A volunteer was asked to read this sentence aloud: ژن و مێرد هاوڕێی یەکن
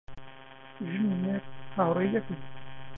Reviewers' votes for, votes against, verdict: 0, 2, rejected